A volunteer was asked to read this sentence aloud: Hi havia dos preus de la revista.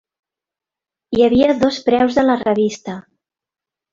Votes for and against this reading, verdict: 2, 0, accepted